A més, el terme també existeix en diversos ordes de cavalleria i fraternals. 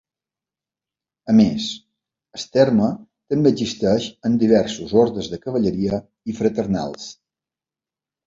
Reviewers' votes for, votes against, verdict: 1, 2, rejected